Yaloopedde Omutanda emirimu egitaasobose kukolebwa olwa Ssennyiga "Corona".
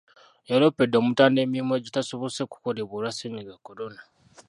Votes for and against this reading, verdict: 1, 2, rejected